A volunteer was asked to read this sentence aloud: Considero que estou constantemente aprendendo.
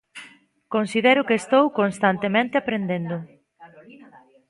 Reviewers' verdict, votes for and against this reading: accepted, 2, 1